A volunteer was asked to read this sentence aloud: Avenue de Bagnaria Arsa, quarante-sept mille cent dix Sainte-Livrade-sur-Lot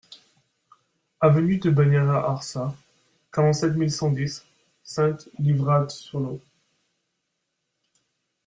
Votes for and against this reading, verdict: 1, 2, rejected